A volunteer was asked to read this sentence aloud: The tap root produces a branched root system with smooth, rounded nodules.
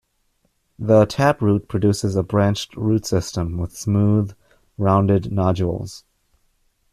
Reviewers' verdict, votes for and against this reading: accepted, 2, 1